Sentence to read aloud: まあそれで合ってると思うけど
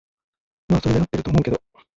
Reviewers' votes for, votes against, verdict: 0, 2, rejected